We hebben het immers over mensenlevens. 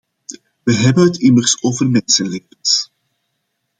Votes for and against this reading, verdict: 2, 1, accepted